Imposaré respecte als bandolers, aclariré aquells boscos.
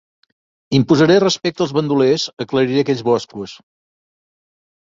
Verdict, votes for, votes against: accepted, 3, 0